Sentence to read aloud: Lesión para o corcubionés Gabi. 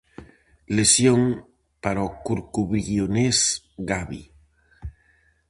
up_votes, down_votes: 0, 4